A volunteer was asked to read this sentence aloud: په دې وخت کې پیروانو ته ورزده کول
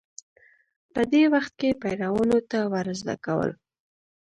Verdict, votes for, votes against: rejected, 0, 2